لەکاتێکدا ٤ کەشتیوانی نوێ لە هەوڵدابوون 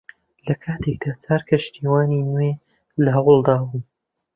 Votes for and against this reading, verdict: 0, 2, rejected